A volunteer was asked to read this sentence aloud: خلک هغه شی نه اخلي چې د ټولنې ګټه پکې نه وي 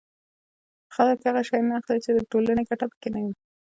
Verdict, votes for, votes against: accepted, 2, 0